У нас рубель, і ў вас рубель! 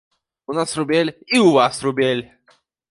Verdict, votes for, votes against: accepted, 2, 0